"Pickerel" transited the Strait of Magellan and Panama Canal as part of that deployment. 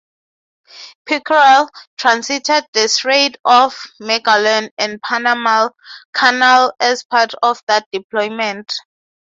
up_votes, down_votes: 0, 3